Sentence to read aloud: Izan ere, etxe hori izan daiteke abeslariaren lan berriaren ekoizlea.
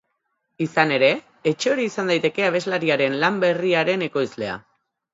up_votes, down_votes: 4, 0